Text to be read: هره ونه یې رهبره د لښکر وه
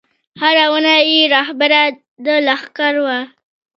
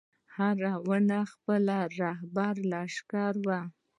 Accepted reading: first